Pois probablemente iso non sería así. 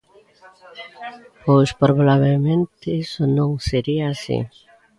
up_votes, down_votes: 0, 2